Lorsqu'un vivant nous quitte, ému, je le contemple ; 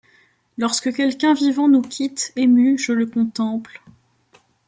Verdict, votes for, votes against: rejected, 0, 2